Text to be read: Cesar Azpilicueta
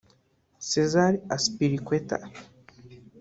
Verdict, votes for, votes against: rejected, 2, 3